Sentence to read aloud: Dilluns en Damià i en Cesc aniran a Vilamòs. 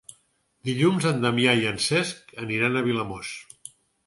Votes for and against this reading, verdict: 4, 0, accepted